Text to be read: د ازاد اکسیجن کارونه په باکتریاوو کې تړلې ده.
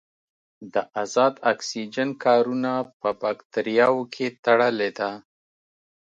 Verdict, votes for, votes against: accepted, 2, 0